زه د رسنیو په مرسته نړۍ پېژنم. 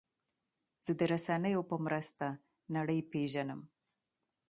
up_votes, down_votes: 2, 0